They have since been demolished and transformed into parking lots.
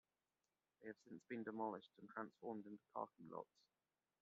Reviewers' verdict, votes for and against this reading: rejected, 0, 2